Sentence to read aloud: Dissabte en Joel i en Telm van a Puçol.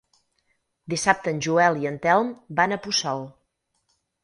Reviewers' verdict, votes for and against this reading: accepted, 6, 2